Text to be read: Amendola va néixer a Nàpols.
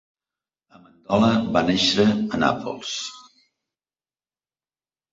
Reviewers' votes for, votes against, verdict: 1, 2, rejected